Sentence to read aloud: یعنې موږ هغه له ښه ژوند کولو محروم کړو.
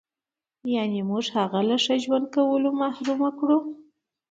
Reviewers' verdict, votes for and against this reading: accepted, 2, 0